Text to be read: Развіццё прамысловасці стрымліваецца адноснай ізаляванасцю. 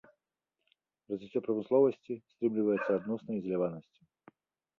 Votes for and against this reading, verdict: 0, 3, rejected